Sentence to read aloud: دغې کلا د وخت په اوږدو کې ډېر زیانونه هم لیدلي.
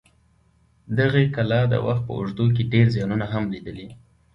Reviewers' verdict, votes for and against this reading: accepted, 2, 1